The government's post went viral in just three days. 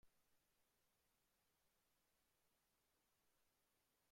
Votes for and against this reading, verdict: 0, 2, rejected